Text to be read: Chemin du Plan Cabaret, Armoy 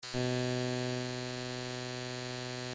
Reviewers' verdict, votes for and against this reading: rejected, 0, 2